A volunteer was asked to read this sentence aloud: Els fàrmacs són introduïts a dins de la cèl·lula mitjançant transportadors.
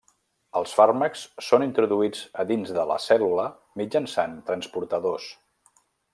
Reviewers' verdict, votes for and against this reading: rejected, 1, 2